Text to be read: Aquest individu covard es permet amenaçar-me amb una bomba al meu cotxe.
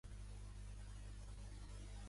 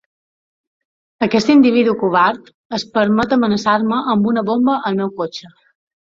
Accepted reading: second